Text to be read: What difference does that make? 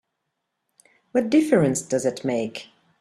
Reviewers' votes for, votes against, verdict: 1, 3, rejected